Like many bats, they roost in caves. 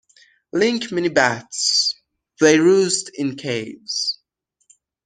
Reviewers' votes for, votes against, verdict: 1, 2, rejected